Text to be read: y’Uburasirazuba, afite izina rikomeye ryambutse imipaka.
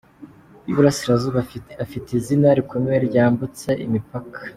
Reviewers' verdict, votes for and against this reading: rejected, 0, 2